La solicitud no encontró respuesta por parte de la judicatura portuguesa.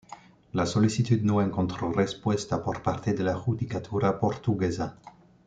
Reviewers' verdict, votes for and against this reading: accepted, 2, 0